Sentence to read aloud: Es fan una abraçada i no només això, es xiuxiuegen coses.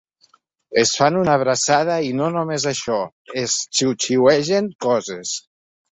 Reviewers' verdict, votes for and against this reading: accepted, 3, 0